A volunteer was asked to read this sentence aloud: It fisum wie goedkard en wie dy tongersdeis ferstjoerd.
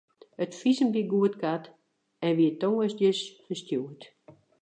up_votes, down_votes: 0, 2